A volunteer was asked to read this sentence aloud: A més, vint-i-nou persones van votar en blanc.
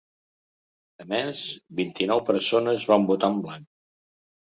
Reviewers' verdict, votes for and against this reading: accepted, 3, 0